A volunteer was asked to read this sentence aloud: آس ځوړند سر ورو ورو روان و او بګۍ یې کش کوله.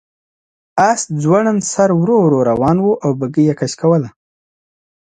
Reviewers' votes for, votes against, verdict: 2, 0, accepted